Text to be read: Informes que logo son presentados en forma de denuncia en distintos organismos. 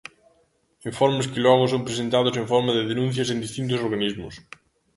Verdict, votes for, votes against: rejected, 0, 2